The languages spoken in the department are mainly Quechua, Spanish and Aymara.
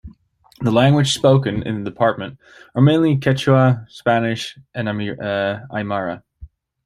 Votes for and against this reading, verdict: 2, 1, accepted